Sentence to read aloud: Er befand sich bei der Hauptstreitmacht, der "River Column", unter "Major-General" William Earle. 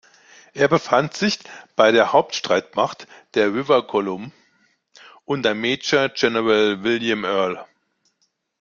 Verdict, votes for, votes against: rejected, 0, 2